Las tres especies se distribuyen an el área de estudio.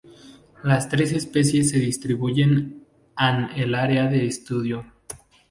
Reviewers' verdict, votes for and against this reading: rejected, 0, 2